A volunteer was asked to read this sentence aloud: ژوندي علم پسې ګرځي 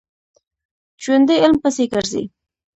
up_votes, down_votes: 2, 1